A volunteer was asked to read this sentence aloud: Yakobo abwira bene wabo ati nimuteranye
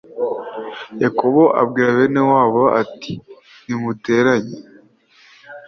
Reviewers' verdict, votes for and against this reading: accepted, 2, 0